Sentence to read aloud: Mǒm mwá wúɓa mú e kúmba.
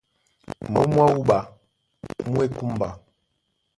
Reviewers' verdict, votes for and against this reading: accepted, 2, 0